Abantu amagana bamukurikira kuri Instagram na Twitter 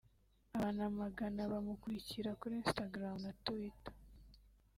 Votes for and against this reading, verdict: 3, 0, accepted